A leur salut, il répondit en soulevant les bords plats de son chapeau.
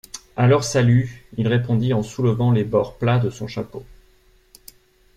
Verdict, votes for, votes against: accepted, 2, 0